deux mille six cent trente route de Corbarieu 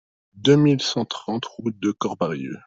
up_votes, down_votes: 1, 2